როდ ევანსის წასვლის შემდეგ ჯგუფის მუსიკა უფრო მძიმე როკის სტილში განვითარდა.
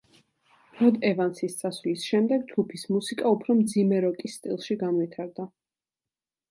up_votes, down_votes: 2, 0